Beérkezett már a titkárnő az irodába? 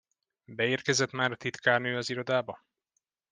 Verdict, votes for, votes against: accepted, 2, 0